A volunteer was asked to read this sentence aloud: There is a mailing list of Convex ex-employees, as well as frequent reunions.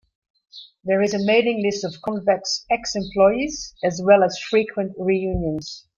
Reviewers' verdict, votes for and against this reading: accepted, 2, 0